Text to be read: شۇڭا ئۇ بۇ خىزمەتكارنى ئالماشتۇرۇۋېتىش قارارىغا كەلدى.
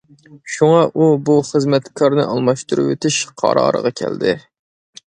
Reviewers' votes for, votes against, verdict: 2, 0, accepted